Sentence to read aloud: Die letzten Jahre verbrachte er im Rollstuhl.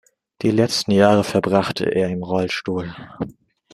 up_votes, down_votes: 2, 0